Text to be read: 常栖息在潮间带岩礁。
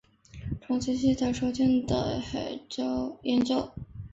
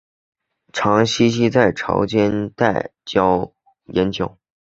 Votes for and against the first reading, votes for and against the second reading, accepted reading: 1, 2, 3, 1, second